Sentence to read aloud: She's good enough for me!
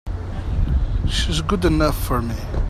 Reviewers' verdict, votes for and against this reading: accepted, 2, 0